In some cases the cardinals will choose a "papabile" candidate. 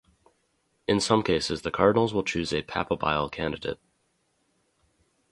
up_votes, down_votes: 2, 2